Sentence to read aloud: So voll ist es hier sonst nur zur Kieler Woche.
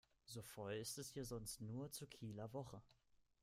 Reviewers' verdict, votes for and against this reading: accepted, 2, 0